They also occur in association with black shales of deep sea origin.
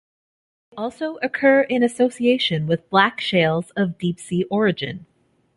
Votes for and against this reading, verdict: 0, 2, rejected